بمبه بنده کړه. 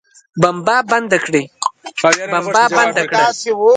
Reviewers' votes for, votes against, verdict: 0, 2, rejected